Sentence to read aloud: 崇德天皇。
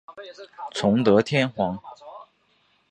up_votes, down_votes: 2, 0